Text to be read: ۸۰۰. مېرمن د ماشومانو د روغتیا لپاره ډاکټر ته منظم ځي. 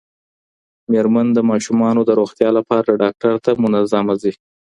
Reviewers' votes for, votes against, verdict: 0, 2, rejected